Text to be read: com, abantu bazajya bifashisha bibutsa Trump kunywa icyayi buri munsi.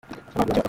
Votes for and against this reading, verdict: 0, 2, rejected